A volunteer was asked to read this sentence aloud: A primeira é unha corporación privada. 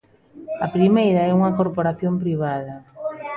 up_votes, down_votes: 1, 2